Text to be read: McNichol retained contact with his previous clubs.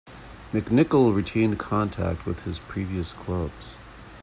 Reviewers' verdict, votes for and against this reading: rejected, 1, 2